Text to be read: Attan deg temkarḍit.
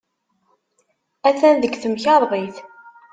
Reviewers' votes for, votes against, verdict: 2, 3, rejected